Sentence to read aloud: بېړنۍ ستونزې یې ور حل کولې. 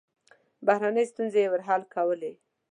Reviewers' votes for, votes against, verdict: 0, 2, rejected